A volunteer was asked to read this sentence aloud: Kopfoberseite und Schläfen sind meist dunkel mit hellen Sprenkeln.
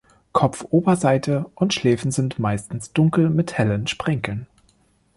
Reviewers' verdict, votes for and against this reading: rejected, 0, 2